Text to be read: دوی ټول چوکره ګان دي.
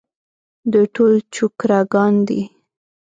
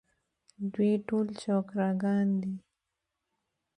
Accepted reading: second